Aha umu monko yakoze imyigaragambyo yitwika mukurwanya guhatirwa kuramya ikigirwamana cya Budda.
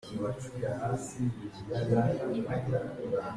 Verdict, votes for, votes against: rejected, 0, 2